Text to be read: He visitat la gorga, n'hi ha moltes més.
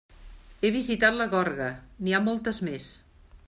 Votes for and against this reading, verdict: 2, 0, accepted